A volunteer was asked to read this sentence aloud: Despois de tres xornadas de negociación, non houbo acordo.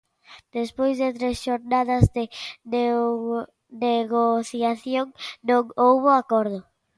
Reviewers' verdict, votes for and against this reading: rejected, 0, 2